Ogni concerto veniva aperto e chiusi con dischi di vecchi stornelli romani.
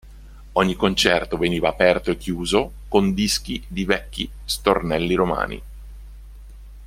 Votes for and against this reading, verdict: 0, 2, rejected